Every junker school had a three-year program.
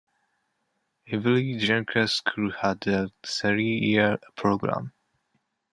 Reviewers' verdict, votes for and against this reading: accepted, 2, 0